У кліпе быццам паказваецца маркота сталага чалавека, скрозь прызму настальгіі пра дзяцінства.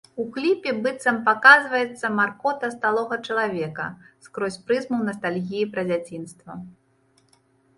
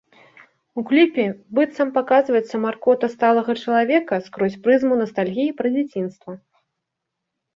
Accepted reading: second